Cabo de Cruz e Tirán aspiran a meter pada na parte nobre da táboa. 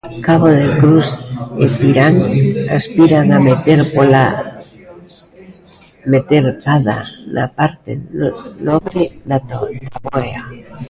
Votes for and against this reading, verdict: 0, 2, rejected